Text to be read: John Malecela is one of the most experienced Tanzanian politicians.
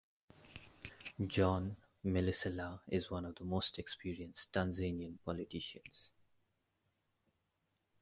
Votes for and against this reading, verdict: 2, 0, accepted